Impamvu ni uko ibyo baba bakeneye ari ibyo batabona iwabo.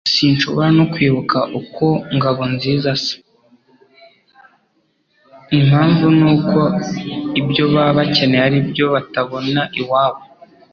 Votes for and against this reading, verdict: 0, 3, rejected